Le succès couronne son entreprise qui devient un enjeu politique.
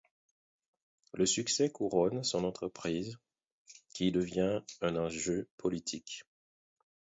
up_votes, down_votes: 2, 4